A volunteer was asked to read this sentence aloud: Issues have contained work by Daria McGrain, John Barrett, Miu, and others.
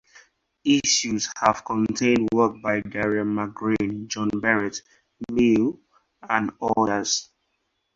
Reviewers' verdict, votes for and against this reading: rejected, 0, 2